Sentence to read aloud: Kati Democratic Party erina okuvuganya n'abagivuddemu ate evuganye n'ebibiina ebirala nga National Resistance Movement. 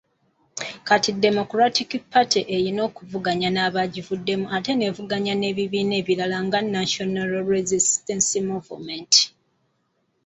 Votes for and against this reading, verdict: 2, 0, accepted